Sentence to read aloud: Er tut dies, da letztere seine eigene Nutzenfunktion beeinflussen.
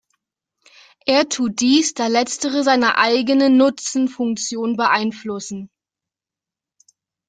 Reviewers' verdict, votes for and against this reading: rejected, 0, 2